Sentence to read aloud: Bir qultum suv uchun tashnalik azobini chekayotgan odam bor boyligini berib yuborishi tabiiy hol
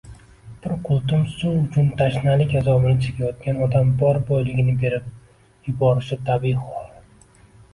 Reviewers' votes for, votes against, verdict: 1, 2, rejected